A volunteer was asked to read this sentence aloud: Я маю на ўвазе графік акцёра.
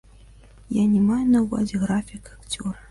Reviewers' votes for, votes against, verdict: 0, 2, rejected